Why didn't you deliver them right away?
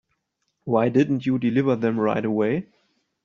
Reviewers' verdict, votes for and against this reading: accepted, 3, 0